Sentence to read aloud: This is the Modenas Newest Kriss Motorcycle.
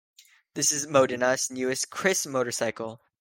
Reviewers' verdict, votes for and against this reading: accepted, 2, 0